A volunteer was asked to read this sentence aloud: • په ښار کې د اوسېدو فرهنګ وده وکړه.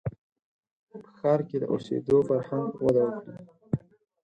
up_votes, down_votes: 2, 6